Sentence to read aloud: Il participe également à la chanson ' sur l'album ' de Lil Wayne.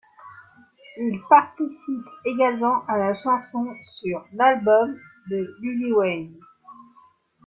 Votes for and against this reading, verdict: 1, 2, rejected